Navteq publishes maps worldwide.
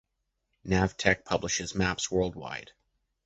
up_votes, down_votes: 2, 0